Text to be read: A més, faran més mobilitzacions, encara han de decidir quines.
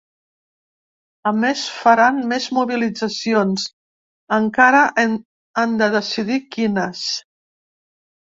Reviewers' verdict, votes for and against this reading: rejected, 0, 2